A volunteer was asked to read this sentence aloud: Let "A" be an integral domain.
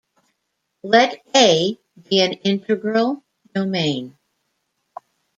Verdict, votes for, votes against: rejected, 1, 2